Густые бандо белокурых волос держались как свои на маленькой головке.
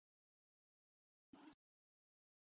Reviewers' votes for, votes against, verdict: 0, 2, rejected